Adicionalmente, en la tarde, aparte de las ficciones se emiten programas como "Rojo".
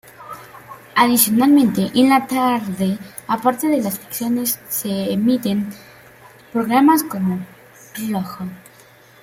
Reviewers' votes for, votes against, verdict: 2, 1, accepted